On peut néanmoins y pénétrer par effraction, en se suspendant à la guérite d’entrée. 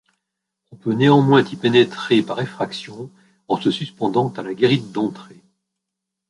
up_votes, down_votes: 0, 2